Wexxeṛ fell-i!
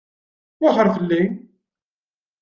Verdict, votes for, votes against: accepted, 2, 0